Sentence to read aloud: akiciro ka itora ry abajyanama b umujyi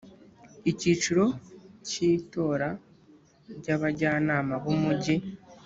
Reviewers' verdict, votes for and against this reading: rejected, 0, 2